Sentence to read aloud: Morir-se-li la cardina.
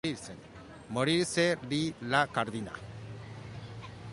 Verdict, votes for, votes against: rejected, 0, 2